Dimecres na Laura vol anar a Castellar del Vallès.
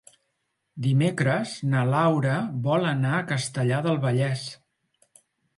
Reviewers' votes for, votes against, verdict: 3, 0, accepted